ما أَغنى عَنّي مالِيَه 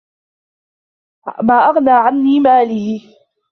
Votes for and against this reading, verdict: 1, 2, rejected